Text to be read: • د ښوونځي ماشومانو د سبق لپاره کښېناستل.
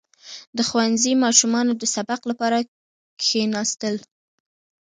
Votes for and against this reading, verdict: 0, 2, rejected